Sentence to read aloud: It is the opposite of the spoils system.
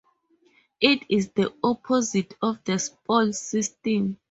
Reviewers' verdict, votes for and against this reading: rejected, 0, 4